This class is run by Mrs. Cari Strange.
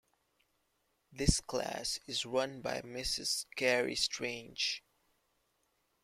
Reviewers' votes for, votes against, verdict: 2, 0, accepted